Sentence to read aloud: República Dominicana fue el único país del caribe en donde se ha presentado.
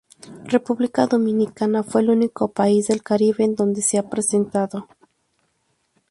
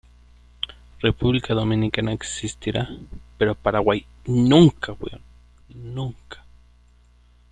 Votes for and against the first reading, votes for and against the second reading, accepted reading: 2, 0, 0, 2, first